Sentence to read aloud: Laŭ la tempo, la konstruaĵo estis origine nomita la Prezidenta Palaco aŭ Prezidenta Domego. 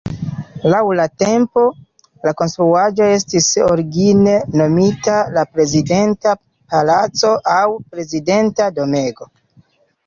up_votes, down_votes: 2, 0